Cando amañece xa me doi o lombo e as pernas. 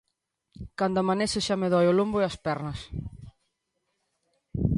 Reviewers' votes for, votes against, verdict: 0, 2, rejected